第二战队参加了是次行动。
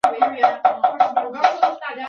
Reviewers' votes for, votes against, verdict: 0, 2, rejected